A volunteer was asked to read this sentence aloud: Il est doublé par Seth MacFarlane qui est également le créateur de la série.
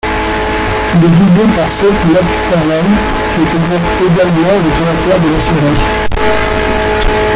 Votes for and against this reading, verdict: 0, 2, rejected